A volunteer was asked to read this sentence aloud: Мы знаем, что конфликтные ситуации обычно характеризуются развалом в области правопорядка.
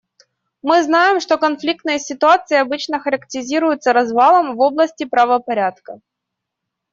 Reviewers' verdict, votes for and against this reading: rejected, 2, 3